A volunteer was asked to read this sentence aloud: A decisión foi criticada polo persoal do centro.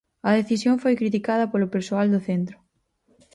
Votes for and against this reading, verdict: 4, 0, accepted